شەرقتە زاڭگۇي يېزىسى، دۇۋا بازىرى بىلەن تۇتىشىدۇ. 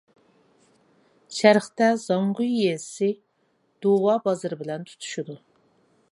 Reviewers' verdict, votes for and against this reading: accepted, 2, 0